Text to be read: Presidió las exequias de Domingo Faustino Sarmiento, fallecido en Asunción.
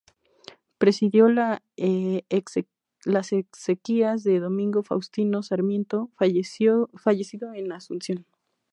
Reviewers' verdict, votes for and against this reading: rejected, 0, 2